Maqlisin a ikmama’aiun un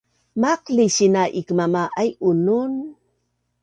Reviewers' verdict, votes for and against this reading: accepted, 2, 0